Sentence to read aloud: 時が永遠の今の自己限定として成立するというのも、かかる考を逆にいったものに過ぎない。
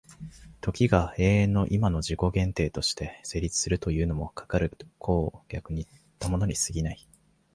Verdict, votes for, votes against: accepted, 2, 0